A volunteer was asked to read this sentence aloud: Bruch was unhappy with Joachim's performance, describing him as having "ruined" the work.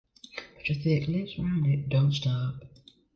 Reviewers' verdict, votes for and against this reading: rejected, 0, 2